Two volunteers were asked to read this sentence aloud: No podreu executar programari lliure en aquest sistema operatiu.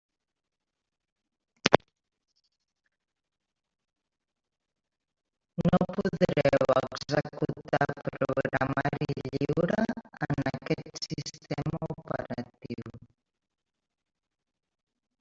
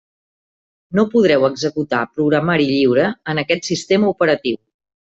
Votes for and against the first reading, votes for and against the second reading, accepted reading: 0, 2, 3, 0, second